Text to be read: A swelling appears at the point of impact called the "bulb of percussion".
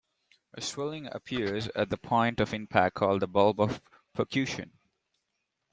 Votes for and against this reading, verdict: 0, 2, rejected